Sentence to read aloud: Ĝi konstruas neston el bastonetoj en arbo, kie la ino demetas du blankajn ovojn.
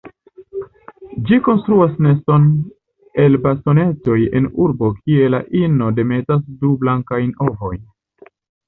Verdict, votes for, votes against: rejected, 0, 2